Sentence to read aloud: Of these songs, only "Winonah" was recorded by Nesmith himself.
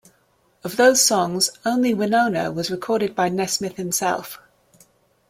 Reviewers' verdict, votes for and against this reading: rejected, 1, 2